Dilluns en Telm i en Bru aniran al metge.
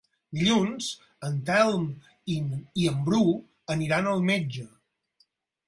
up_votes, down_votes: 4, 6